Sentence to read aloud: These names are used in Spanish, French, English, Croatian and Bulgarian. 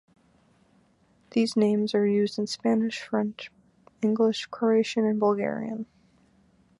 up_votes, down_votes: 2, 0